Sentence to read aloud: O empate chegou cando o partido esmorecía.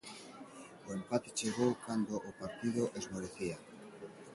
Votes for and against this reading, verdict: 2, 0, accepted